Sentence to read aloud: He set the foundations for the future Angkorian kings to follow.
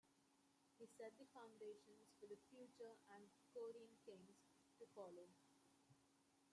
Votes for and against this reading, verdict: 0, 2, rejected